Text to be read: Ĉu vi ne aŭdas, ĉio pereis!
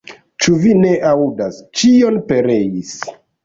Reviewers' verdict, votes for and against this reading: rejected, 0, 2